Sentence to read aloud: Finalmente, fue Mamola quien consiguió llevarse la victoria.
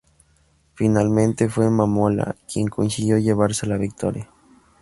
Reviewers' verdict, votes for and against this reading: accepted, 2, 0